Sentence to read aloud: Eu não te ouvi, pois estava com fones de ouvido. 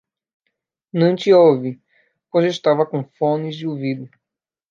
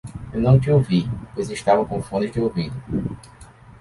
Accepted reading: second